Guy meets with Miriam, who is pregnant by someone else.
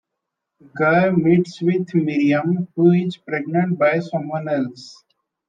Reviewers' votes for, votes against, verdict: 0, 2, rejected